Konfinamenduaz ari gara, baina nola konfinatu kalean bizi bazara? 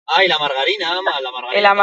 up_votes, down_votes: 0, 2